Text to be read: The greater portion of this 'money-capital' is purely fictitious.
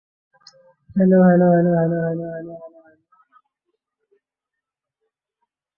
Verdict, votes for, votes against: rejected, 0, 2